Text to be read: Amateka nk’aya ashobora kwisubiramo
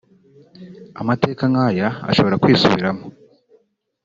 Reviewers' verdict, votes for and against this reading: accepted, 2, 0